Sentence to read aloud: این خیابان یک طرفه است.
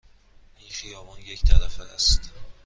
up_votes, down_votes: 2, 0